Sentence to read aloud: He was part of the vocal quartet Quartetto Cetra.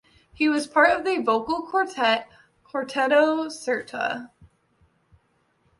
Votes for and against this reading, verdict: 0, 2, rejected